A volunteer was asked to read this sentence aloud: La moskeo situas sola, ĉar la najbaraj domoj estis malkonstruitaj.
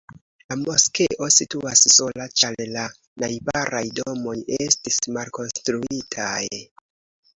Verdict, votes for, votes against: rejected, 1, 2